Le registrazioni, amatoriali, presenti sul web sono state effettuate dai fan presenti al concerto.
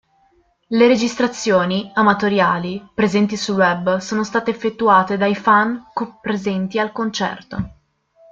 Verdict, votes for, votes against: rejected, 1, 2